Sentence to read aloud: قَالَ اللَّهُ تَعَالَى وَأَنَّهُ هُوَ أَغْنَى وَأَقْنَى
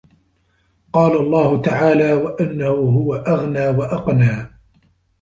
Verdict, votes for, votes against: rejected, 1, 2